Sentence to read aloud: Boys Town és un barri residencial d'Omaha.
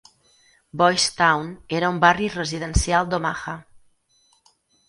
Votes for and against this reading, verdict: 2, 4, rejected